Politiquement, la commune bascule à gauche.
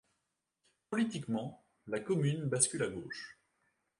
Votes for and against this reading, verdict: 2, 0, accepted